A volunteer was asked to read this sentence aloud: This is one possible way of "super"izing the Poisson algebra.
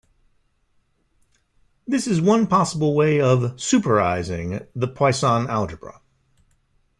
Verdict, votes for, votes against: accepted, 2, 0